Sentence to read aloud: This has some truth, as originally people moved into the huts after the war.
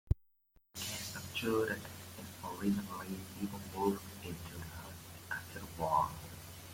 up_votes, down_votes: 0, 2